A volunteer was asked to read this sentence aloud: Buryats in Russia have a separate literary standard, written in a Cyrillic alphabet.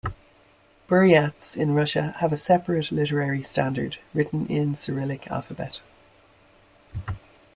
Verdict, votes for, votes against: rejected, 1, 2